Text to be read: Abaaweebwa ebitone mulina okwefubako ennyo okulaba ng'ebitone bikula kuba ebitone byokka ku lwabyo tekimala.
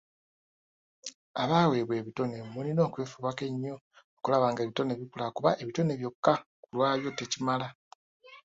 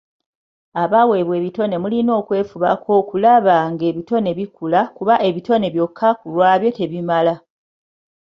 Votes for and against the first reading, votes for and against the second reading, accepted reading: 2, 0, 1, 2, first